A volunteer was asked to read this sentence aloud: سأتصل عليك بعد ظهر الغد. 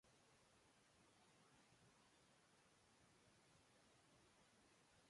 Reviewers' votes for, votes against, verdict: 0, 2, rejected